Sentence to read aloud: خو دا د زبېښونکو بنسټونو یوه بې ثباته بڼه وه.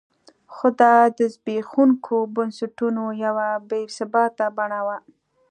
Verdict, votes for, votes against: accepted, 2, 0